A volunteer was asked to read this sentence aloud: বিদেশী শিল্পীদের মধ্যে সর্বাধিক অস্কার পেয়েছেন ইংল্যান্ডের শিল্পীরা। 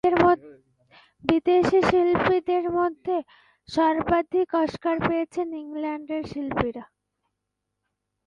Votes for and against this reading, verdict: 0, 2, rejected